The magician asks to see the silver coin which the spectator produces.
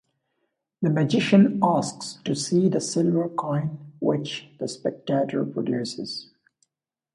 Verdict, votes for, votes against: accepted, 2, 0